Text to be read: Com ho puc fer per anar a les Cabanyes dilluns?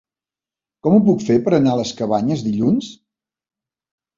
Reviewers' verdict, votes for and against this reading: accepted, 2, 0